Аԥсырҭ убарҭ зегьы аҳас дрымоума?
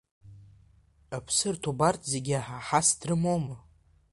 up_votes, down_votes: 1, 2